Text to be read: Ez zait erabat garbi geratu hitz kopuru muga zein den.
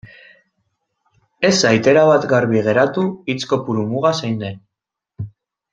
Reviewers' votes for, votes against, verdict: 2, 0, accepted